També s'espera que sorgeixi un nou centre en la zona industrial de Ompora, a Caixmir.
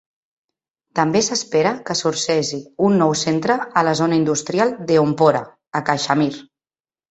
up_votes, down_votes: 0, 2